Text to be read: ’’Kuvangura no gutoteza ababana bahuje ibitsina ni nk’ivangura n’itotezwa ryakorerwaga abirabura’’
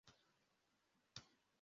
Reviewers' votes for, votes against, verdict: 0, 2, rejected